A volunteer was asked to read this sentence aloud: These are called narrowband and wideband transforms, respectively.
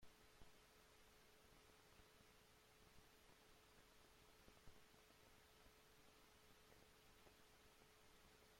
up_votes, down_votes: 1, 2